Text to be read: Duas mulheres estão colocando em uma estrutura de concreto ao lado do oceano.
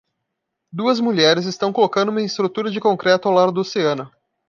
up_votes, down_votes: 2, 3